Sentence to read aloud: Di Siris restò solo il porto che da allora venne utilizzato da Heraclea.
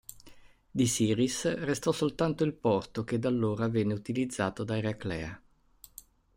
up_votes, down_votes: 1, 2